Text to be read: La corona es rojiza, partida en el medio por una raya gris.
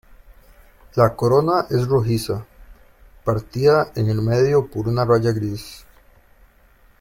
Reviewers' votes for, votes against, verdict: 0, 2, rejected